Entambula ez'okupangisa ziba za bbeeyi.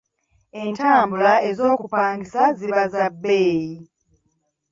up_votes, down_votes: 1, 2